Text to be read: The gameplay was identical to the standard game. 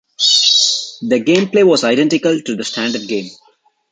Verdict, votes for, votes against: rejected, 1, 2